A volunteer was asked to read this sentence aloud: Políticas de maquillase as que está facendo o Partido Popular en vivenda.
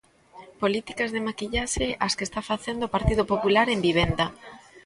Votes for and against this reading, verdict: 0, 2, rejected